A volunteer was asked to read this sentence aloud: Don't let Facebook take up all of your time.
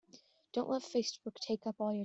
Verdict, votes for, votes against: rejected, 0, 2